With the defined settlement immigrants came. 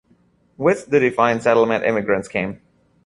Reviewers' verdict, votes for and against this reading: rejected, 1, 2